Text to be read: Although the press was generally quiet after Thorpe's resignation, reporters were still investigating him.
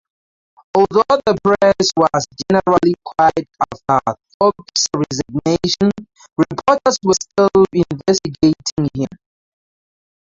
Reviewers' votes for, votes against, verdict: 0, 4, rejected